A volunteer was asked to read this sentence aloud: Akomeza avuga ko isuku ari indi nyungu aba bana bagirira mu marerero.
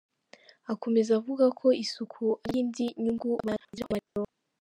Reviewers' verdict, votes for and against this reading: rejected, 0, 2